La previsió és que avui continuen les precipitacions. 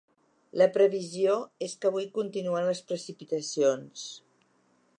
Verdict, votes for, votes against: accepted, 2, 0